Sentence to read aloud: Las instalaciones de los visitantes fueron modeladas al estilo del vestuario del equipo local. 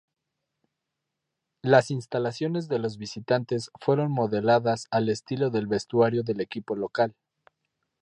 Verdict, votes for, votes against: rejected, 0, 2